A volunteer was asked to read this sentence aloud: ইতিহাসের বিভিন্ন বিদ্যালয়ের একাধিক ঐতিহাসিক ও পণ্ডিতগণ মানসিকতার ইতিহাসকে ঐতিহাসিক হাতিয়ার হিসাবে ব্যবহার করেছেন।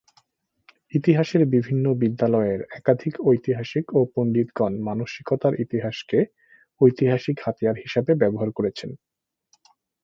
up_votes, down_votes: 2, 0